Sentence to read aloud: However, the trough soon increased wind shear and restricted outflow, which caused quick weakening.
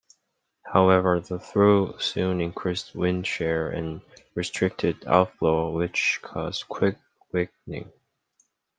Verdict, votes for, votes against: rejected, 0, 2